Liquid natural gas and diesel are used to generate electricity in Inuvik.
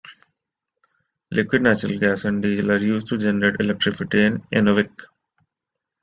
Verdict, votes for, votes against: rejected, 1, 2